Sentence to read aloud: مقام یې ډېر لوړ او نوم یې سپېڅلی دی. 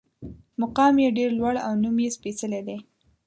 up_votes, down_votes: 2, 0